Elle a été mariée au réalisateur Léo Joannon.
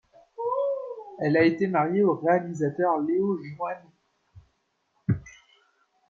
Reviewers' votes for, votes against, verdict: 0, 2, rejected